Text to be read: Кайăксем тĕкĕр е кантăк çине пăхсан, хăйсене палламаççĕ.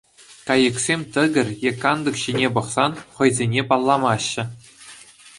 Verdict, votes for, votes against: accepted, 2, 0